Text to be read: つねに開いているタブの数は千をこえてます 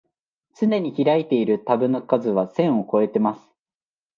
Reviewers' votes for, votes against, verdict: 2, 0, accepted